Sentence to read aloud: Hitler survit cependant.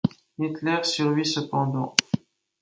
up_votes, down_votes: 3, 2